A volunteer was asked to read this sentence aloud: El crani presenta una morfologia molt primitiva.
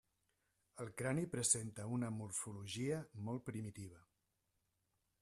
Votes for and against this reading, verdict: 0, 2, rejected